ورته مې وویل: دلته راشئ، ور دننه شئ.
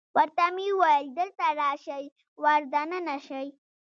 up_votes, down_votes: 0, 2